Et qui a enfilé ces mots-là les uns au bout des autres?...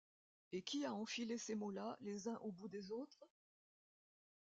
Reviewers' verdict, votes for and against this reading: accepted, 2, 0